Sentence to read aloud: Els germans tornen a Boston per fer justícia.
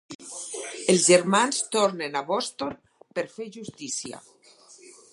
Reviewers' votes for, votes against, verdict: 2, 4, rejected